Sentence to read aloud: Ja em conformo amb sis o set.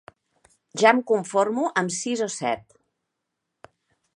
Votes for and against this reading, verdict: 3, 0, accepted